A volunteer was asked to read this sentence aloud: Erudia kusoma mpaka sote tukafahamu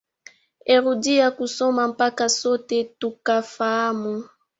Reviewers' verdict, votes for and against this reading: accepted, 3, 1